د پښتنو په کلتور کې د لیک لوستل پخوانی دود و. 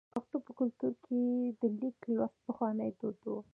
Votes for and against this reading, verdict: 2, 0, accepted